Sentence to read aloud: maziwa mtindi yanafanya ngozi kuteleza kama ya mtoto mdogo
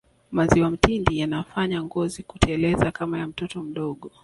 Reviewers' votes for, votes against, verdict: 2, 0, accepted